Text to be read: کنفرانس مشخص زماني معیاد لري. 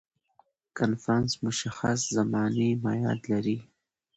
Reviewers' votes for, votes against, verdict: 2, 0, accepted